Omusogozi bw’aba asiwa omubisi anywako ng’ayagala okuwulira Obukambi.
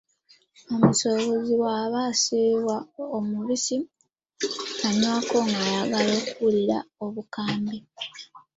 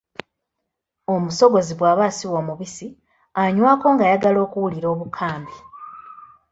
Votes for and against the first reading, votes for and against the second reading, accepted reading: 1, 2, 2, 0, second